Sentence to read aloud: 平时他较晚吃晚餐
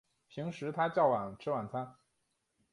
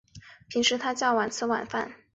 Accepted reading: first